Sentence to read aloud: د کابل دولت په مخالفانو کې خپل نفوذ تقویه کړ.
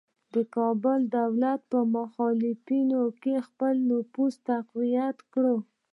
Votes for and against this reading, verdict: 1, 2, rejected